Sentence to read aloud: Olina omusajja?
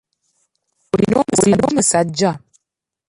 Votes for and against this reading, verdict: 2, 1, accepted